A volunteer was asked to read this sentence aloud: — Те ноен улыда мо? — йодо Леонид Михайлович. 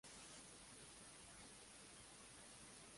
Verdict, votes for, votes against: rejected, 0, 2